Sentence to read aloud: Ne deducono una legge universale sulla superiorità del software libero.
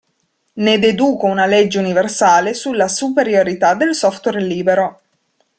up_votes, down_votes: 1, 2